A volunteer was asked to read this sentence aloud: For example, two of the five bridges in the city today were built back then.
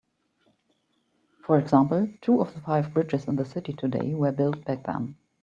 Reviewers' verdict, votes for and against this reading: accepted, 2, 0